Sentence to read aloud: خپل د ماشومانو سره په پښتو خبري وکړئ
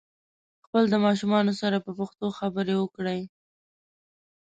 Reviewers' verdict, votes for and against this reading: rejected, 1, 2